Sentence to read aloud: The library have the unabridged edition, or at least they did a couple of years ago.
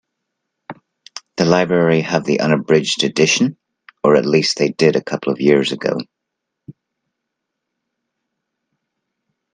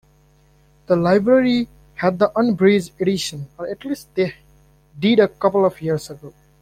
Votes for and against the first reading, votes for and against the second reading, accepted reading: 2, 0, 0, 2, first